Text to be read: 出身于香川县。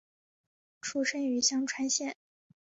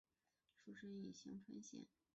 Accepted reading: first